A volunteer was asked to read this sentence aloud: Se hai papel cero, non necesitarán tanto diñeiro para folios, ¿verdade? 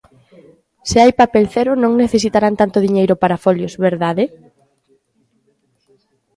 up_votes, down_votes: 2, 0